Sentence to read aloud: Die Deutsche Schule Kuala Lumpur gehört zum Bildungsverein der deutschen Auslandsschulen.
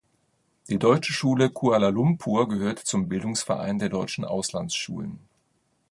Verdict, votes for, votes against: rejected, 1, 2